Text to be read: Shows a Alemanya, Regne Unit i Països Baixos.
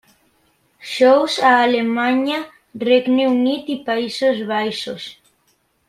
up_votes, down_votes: 3, 0